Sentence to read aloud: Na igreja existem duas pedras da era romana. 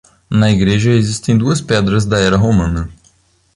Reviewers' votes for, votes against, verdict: 2, 0, accepted